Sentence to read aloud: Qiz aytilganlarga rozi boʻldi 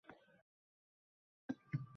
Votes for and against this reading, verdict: 0, 2, rejected